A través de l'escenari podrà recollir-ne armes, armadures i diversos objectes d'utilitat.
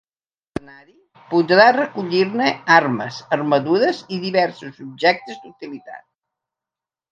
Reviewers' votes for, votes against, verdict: 1, 2, rejected